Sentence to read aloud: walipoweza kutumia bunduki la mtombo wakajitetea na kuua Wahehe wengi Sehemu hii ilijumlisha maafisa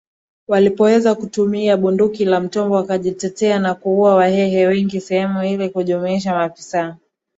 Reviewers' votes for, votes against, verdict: 2, 0, accepted